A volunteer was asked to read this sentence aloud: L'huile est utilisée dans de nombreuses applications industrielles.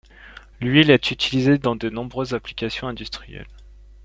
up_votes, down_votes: 2, 0